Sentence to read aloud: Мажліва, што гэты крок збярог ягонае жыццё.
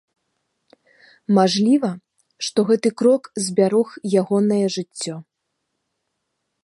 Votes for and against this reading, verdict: 3, 0, accepted